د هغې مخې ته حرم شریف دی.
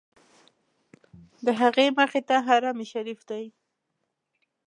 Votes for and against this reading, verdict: 2, 0, accepted